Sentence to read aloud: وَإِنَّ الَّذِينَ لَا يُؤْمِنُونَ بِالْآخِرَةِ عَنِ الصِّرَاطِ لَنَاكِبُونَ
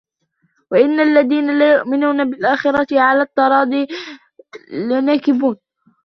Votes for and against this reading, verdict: 2, 1, accepted